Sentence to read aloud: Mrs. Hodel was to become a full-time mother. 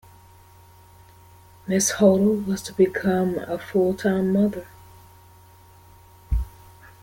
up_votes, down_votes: 0, 2